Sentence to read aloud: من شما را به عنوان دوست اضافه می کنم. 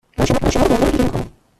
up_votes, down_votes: 1, 2